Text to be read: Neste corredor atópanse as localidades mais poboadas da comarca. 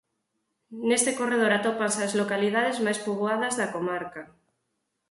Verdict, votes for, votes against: accepted, 4, 0